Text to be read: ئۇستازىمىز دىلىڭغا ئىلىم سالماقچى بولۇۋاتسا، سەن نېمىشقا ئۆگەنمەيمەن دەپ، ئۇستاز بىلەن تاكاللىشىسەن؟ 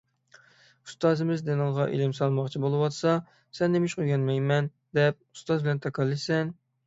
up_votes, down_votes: 6, 0